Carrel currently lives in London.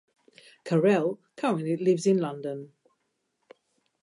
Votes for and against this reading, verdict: 2, 0, accepted